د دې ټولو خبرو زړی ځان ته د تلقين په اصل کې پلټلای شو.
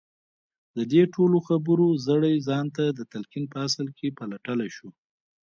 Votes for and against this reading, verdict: 0, 2, rejected